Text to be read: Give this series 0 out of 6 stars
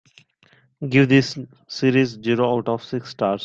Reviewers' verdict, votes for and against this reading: rejected, 0, 2